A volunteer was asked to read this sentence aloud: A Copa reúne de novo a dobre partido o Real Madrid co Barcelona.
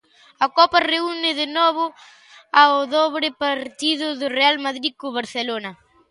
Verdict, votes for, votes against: rejected, 0, 2